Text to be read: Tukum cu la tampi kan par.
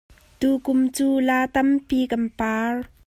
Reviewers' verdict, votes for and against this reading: accepted, 2, 1